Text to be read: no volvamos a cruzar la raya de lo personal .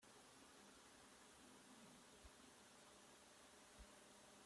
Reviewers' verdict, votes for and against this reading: rejected, 0, 3